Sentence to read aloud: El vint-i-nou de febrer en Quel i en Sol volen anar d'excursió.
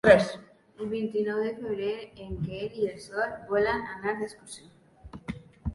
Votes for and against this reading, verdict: 2, 3, rejected